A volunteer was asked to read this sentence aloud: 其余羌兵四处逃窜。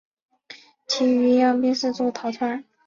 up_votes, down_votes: 1, 2